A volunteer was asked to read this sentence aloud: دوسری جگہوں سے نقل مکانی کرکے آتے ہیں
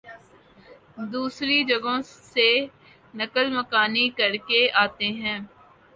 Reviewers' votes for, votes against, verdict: 2, 0, accepted